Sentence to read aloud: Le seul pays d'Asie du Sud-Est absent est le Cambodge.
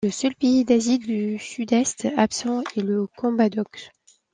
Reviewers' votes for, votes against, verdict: 0, 2, rejected